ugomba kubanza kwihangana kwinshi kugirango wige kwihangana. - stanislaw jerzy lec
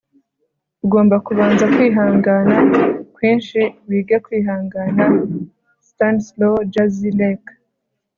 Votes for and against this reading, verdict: 4, 0, accepted